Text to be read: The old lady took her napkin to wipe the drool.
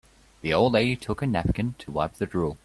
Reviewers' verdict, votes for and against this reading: accepted, 2, 1